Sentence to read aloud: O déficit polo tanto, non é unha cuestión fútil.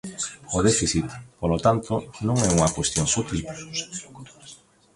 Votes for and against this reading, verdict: 0, 2, rejected